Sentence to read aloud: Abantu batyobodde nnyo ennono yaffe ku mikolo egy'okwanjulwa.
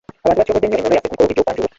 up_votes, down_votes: 0, 2